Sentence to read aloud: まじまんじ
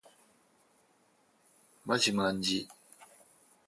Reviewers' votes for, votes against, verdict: 4, 0, accepted